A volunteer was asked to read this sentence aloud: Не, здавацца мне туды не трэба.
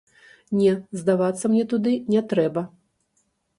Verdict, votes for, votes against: rejected, 0, 2